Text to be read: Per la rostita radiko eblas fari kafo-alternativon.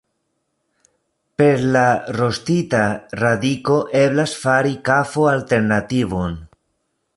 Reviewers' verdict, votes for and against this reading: accepted, 2, 0